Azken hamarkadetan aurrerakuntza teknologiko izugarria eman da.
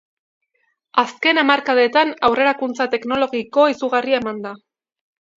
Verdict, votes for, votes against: accepted, 2, 0